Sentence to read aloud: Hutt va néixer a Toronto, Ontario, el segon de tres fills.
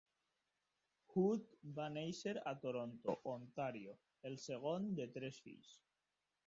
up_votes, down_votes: 3, 1